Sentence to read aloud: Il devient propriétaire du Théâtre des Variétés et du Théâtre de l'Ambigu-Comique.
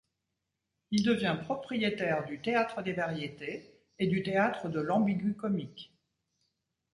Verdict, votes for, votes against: rejected, 1, 2